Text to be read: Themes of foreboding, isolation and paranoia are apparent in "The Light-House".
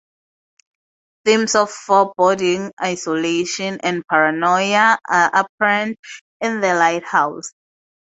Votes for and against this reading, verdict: 4, 0, accepted